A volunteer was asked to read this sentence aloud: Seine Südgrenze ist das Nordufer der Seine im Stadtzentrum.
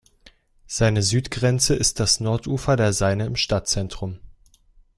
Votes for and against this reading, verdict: 1, 2, rejected